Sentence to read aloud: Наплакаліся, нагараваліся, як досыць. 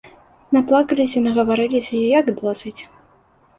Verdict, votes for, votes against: rejected, 1, 2